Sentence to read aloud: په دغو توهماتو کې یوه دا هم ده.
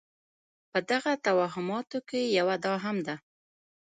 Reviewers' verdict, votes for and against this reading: accepted, 2, 1